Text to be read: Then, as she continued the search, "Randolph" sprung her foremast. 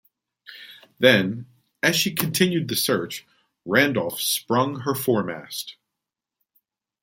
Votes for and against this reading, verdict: 2, 0, accepted